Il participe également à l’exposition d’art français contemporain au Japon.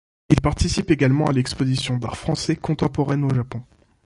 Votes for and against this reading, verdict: 0, 2, rejected